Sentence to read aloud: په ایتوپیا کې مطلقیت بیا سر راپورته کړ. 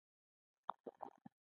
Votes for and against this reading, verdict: 2, 1, accepted